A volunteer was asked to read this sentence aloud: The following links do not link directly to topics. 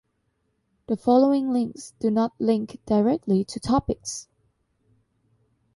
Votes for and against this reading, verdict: 2, 0, accepted